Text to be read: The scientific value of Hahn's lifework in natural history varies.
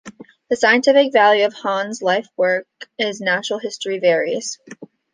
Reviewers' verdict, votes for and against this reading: rejected, 1, 2